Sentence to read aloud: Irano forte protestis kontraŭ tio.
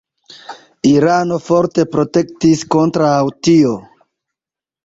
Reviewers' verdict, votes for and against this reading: rejected, 1, 2